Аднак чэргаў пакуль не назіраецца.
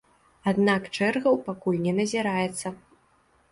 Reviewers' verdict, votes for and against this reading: accepted, 2, 0